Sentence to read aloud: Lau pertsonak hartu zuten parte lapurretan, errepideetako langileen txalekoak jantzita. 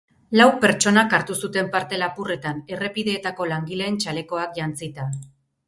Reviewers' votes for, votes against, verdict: 6, 0, accepted